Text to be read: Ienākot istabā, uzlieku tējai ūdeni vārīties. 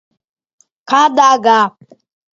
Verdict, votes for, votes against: rejected, 0, 2